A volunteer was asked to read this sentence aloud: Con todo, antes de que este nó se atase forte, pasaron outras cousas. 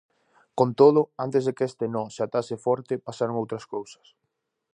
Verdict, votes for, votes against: accepted, 2, 0